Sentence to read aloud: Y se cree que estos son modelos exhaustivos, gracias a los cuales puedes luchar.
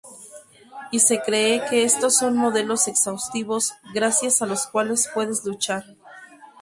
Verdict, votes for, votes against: rejected, 2, 2